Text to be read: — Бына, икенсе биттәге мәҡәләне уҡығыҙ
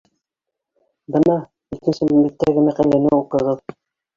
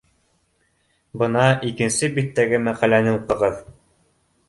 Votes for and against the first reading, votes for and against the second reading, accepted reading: 0, 2, 2, 0, second